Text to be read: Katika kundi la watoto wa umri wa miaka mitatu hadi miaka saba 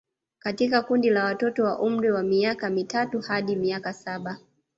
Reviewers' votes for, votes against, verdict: 0, 2, rejected